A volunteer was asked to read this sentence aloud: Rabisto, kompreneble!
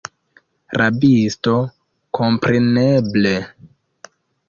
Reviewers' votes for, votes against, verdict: 2, 1, accepted